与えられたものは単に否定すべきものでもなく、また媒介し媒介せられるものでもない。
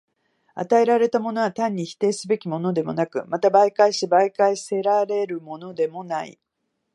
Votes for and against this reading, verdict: 2, 0, accepted